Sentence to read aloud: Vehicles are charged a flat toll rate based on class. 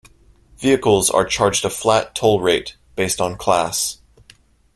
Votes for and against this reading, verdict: 2, 0, accepted